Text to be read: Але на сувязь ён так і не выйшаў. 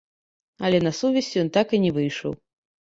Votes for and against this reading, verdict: 1, 2, rejected